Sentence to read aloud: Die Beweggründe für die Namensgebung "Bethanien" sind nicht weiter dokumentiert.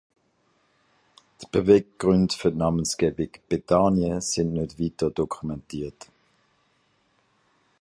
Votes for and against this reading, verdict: 0, 2, rejected